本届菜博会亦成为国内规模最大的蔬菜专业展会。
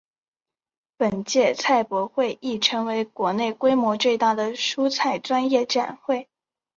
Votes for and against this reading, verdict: 3, 1, accepted